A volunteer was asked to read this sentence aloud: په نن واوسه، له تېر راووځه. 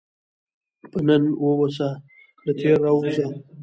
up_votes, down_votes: 1, 2